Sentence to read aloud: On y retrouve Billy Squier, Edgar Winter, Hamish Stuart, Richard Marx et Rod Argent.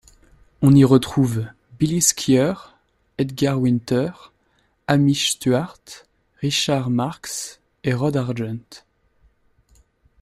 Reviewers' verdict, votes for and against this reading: accepted, 2, 0